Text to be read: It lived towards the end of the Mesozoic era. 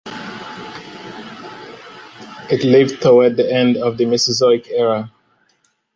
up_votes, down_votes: 2, 1